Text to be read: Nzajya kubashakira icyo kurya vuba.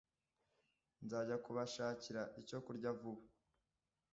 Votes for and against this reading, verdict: 2, 0, accepted